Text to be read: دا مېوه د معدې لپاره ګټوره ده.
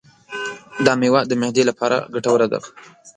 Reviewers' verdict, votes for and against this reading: rejected, 1, 2